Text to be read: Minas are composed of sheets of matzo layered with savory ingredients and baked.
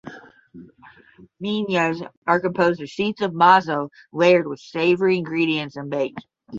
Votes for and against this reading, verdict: 5, 10, rejected